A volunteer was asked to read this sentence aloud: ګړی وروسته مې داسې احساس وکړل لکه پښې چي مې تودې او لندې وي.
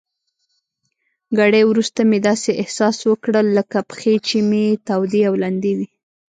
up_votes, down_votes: 1, 2